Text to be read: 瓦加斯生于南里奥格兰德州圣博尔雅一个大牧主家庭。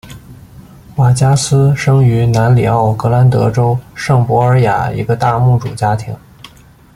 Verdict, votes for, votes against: accepted, 2, 0